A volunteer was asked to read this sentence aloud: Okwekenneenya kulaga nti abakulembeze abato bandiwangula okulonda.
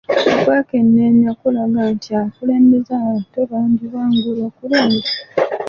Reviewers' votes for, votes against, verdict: 1, 2, rejected